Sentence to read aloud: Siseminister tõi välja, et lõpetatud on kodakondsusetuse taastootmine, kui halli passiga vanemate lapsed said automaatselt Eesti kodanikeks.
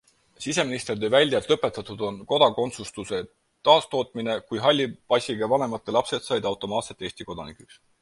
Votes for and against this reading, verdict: 2, 4, rejected